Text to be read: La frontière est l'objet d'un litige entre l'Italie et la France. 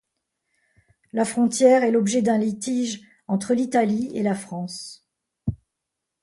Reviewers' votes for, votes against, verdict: 2, 0, accepted